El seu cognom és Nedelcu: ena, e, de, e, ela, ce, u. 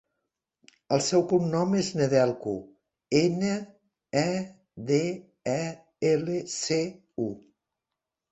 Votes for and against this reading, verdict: 0, 2, rejected